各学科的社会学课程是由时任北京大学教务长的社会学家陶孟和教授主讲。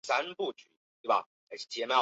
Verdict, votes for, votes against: rejected, 0, 3